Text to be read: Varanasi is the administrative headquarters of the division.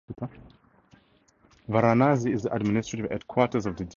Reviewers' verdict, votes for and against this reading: rejected, 2, 4